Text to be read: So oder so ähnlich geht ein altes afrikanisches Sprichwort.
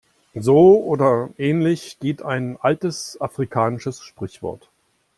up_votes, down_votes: 0, 2